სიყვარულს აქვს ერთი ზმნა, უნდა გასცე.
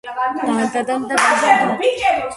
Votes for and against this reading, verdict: 0, 2, rejected